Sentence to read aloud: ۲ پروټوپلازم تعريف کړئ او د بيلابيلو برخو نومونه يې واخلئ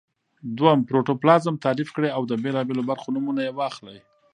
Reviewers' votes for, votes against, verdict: 0, 2, rejected